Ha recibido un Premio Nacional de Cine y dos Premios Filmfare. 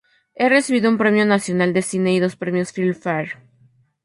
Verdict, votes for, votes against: rejected, 0, 4